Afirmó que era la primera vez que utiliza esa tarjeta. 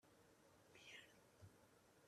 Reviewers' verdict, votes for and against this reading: rejected, 0, 2